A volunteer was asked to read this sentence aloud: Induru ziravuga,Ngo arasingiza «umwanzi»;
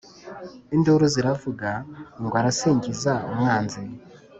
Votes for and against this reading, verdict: 2, 0, accepted